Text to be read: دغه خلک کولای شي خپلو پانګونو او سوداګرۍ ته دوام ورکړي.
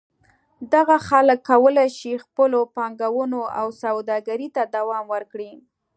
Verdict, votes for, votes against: accepted, 2, 0